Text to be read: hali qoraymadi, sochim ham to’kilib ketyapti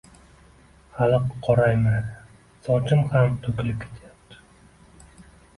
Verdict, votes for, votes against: accepted, 2, 1